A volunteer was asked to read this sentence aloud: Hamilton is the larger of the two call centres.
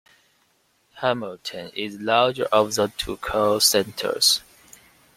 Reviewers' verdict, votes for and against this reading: rejected, 0, 2